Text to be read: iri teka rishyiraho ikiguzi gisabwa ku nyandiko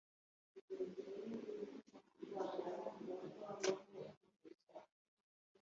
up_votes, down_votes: 0, 3